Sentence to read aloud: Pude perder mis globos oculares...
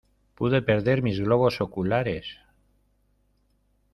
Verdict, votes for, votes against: accepted, 2, 0